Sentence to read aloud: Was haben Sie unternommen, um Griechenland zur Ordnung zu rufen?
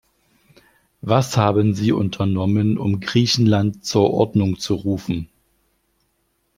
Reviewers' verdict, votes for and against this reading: accepted, 2, 0